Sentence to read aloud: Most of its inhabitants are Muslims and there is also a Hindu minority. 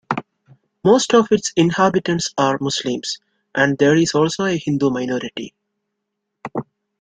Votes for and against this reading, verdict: 2, 0, accepted